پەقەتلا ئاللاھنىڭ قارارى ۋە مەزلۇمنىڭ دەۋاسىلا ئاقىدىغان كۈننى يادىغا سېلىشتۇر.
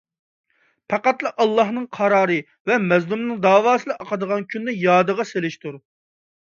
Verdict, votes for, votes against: accepted, 2, 0